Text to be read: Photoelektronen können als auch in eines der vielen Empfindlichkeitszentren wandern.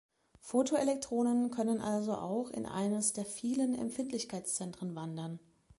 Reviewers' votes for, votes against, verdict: 0, 2, rejected